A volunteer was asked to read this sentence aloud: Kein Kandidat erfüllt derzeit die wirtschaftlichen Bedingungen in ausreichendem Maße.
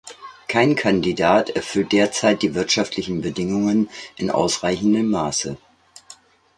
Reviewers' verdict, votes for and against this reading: accepted, 2, 1